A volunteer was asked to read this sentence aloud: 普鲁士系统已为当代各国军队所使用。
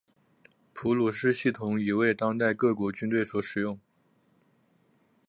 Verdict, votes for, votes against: accepted, 3, 0